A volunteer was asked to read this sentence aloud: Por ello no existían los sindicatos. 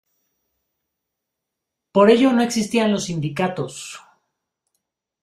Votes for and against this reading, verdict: 2, 0, accepted